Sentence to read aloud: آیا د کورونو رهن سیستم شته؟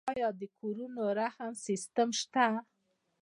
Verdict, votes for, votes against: accepted, 2, 0